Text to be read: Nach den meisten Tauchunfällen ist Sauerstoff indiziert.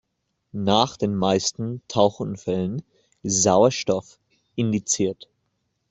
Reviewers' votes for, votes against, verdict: 0, 2, rejected